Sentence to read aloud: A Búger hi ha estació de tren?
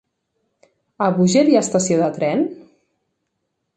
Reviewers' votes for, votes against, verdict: 4, 0, accepted